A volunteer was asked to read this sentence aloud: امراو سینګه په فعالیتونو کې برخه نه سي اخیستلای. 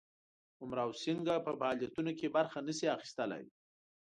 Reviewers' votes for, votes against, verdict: 2, 0, accepted